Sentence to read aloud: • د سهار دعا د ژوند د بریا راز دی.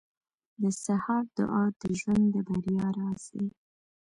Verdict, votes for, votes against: accepted, 2, 1